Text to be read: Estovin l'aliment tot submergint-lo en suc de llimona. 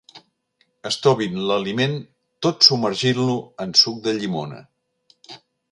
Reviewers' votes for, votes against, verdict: 2, 0, accepted